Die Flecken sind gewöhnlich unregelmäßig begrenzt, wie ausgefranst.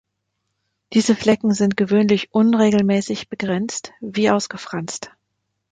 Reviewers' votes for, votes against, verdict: 1, 2, rejected